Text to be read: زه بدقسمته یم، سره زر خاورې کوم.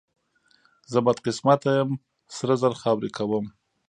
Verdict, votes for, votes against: accepted, 2, 0